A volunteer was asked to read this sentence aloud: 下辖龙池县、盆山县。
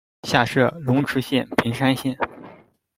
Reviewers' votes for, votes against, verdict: 0, 2, rejected